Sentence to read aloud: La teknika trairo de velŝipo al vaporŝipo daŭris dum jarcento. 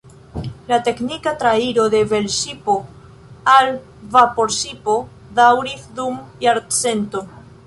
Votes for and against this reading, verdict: 2, 0, accepted